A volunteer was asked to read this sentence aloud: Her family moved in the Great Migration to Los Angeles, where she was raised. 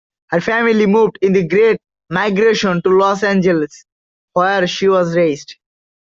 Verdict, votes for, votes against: accepted, 2, 0